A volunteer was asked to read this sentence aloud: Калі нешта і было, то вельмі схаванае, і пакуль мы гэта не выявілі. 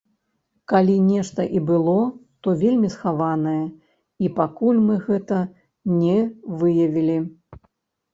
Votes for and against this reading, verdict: 0, 3, rejected